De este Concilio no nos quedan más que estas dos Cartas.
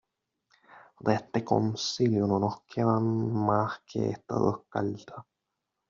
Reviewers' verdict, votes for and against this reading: rejected, 0, 2